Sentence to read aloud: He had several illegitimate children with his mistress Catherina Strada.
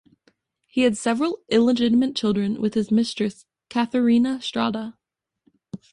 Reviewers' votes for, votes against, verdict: 2, 0, accepted